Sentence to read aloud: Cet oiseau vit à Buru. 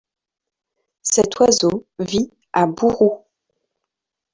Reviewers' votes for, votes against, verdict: 2, 0, accepted